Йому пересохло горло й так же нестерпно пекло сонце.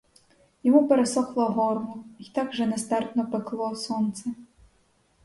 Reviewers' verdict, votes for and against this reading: accepted, 4, 0